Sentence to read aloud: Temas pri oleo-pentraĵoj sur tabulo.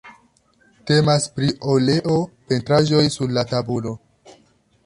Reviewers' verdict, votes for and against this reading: rejected, 0, 2